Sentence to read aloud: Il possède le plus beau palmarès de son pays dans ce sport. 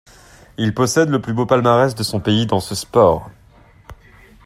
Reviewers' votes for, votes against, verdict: 2, 0, accepted